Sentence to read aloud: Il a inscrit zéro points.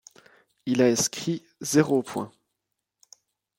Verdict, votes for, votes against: accepted, 2, 0